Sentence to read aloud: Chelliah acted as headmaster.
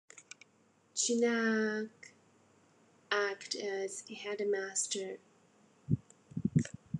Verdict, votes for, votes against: rejected, 0, 2